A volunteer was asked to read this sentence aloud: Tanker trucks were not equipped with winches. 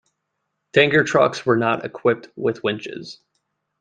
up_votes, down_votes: 2, 1